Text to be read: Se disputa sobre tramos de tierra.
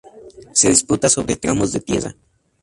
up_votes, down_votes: 0, 2